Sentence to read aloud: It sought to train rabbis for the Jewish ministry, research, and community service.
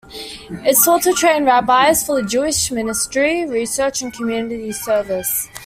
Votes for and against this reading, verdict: 2, 0, accepted